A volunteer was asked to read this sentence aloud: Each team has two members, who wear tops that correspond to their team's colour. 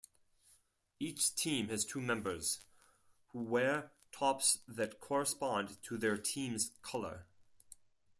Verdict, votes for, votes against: accepted, 4, 0